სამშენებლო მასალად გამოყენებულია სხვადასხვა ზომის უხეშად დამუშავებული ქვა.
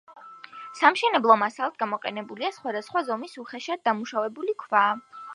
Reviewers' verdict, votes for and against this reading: accepted, 2, 0